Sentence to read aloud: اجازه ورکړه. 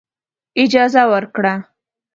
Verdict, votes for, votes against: accepted, 2, 0